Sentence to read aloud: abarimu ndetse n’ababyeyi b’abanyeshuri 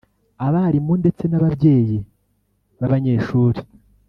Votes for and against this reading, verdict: 1, 2, rejected